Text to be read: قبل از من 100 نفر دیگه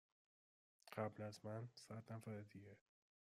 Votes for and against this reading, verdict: 0, 2, rejected